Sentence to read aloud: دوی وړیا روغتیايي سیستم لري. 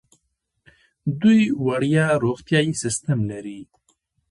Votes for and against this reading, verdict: 1, 2, rejected